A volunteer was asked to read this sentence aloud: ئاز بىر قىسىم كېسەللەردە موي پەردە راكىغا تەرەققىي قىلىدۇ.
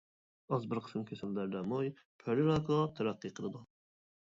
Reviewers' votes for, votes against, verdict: 0, 2, rejected